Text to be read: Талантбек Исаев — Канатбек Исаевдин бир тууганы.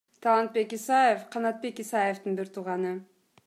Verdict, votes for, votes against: accepted, 2, 0